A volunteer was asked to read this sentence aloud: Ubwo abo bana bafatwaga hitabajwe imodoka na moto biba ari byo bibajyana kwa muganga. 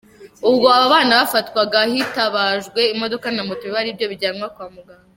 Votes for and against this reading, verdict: 0, 2, rejected